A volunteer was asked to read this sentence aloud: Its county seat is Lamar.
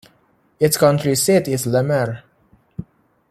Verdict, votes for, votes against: rejected, 0, 2